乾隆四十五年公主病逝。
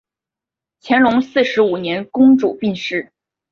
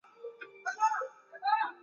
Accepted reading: first